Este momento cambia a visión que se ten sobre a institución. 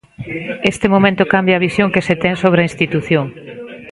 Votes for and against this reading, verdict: 2, 0, accepted